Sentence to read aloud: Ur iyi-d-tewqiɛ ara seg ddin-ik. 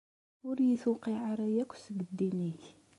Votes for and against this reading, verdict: 1, 2, rejected